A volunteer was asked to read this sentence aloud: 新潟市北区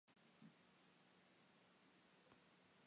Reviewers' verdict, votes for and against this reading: rejected, 0, 2